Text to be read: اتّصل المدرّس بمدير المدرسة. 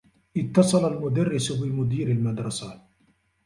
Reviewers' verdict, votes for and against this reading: accepted, 2, 0